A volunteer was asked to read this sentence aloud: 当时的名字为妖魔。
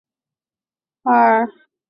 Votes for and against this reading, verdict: 0, 2, rejected